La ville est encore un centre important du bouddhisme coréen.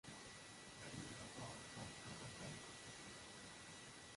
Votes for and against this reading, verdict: 0, 2, rejected